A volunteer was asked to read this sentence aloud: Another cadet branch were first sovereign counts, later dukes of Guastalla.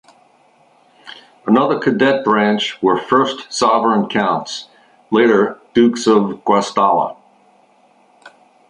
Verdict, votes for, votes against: accepted, 2, 0